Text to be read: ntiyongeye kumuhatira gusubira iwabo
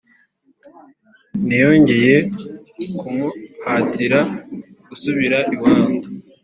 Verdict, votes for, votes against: accepted, 2, 0